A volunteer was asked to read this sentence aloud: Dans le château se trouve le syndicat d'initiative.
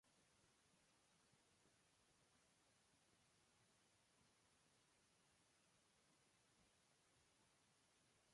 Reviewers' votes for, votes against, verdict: 0, 2, rejected